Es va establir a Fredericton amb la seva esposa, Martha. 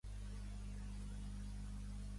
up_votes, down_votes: 0, 2